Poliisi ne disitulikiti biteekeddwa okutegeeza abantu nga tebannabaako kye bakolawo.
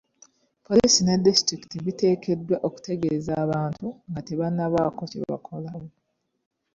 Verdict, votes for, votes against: accepted, 2, 0